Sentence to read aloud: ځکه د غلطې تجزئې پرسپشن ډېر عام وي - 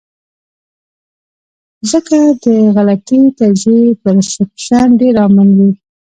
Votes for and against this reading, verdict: 0, 2, rejected